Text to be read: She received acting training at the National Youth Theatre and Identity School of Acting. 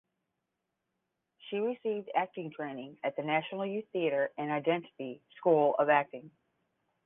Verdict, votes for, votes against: accepted, 10, 0